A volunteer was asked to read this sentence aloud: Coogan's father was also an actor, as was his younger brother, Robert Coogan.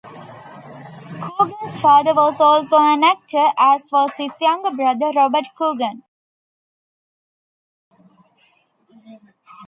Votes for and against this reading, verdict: 2, 0, accepted